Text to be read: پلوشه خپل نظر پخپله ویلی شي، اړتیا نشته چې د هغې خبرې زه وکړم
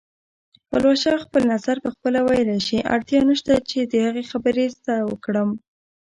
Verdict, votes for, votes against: accepted, 2, 0